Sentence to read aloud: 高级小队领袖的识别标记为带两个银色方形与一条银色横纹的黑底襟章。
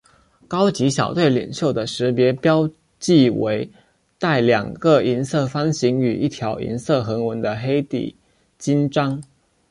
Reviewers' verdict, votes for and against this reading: accepted, 2, 0